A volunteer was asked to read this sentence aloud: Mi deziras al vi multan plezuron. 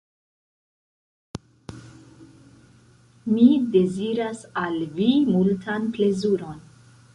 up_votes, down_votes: 1, 2